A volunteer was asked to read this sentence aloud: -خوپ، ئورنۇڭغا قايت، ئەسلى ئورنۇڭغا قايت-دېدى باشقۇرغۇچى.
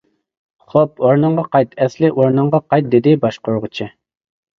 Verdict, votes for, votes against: accepted, 2, 0